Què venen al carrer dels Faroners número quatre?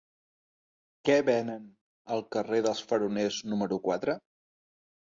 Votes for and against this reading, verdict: 2, 0, accepted